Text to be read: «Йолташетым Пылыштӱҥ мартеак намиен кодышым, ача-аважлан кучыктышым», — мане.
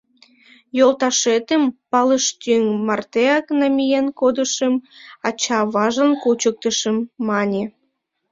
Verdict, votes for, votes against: accepted, 2, 0